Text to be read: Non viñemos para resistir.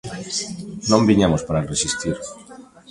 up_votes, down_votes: 0, 2